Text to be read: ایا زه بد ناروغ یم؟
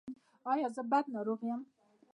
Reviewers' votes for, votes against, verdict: 2, 0, accepted